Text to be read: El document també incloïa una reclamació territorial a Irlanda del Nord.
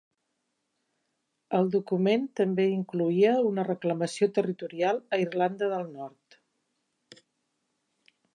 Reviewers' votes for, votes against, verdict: 3, 0, accepted